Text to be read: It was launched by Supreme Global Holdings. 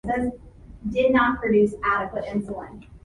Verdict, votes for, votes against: rejected, 0, 2